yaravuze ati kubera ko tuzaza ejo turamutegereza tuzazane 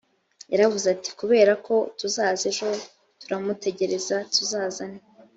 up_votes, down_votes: 3, 0